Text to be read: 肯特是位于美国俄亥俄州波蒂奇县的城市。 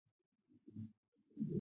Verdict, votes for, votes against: rejected, 0, 2